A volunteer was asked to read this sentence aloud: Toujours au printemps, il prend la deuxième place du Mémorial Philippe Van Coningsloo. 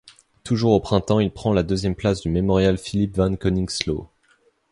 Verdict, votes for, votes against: accepted, 2, 0